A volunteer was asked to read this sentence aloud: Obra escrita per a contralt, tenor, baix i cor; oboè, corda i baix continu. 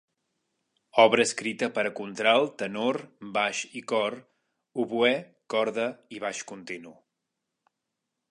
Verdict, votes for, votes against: accepted, 3, 0